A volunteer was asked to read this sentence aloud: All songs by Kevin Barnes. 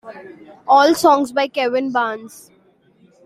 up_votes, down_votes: 2, 0